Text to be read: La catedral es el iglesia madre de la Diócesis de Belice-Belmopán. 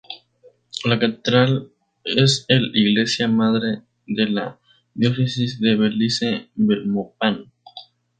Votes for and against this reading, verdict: 2, 0, accepted